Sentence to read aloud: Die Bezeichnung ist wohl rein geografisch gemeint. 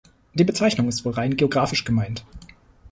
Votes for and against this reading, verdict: 2, 0, accepted